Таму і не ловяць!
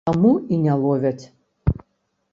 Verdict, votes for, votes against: accepted, 3, 0